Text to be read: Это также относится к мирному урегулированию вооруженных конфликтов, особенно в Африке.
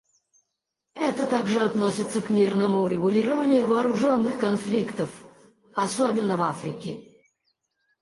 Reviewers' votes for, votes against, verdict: 2, 4, rejected